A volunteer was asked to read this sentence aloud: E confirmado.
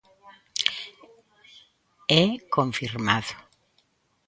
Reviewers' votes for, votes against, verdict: 2, 1, accepted